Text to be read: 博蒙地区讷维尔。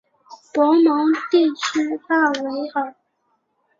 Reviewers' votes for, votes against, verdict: 2, 0, accepted